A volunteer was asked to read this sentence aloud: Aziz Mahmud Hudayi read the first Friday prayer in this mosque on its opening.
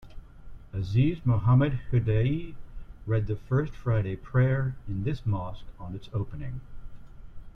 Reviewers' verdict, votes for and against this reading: rejected, 1, 2